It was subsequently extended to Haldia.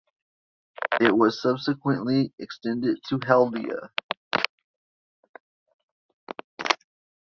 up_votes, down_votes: 2, 0